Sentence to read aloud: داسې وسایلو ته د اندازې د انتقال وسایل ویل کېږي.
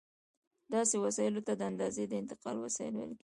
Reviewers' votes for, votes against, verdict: 1, 2, rejected